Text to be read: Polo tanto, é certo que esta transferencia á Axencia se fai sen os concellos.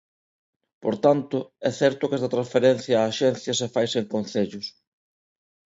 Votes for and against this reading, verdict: 0, 2, rejected